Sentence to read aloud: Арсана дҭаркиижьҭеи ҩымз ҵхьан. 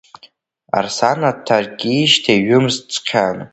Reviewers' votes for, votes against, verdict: 0, 2, rejected